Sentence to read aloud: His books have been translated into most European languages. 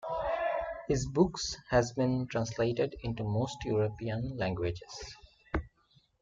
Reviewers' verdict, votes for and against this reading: rejected, 0, 2